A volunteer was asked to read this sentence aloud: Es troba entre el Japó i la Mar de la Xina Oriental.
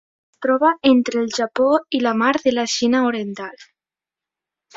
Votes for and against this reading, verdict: 1, 2, rejected